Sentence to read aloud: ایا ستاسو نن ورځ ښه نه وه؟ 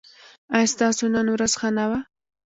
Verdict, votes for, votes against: accepted, 2, 0